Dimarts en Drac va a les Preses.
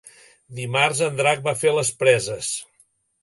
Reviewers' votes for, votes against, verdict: 1, 2, rejected